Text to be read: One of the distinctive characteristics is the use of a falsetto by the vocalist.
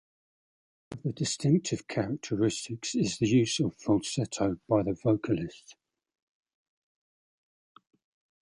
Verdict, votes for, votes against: rejected, 0, 2